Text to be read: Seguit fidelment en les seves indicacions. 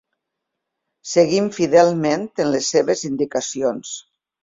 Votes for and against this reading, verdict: 0, 2, rejected